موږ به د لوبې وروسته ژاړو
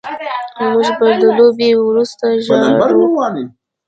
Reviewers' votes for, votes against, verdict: 1, 2, rejected